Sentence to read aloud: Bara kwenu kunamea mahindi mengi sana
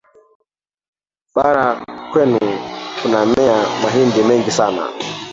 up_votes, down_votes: 0, 2